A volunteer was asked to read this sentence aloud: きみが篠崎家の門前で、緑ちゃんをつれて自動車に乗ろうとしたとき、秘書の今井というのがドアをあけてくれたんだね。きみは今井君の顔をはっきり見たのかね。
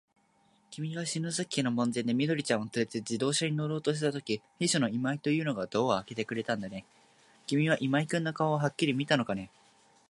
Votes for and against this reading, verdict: 2, 1, accepted